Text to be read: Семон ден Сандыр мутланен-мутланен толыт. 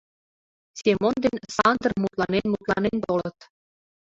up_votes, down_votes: 0, 2